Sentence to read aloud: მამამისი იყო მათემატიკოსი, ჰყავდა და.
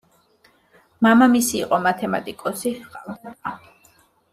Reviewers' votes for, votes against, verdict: 1, 2, rejected